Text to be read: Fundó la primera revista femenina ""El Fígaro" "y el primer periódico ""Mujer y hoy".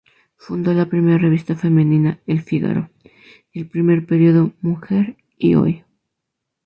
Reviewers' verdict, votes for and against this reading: rejected, 0, 4